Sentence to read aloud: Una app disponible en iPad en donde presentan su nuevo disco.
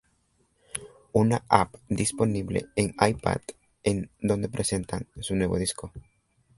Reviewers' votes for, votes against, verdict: 1, 2, rejected